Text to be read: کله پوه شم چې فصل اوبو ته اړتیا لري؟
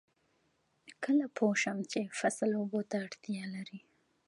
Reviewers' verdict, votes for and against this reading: rejected, 1, 2